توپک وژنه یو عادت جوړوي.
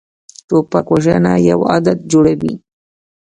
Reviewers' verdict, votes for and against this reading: rejected, 1, 2